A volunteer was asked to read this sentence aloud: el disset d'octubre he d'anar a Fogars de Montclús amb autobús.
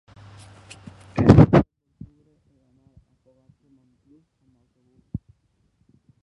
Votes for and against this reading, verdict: 0, 4, rejected